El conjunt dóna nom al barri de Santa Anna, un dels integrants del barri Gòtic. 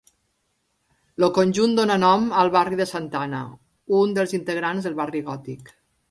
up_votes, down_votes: 3, 0